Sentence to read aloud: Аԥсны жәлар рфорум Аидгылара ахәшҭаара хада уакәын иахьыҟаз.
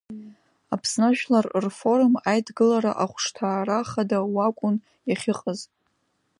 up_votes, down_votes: 2, 0